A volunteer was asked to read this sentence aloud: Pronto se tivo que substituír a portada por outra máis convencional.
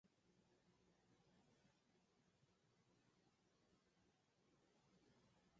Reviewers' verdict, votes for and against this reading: rejected, 0, 4